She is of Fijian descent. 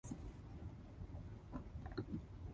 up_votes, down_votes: 0, 2